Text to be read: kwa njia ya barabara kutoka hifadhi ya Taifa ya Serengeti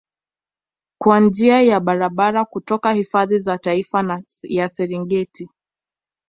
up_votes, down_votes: 2, 1